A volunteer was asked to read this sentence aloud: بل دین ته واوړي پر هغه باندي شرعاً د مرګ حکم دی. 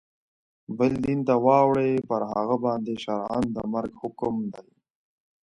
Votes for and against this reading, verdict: 0, 2, rejected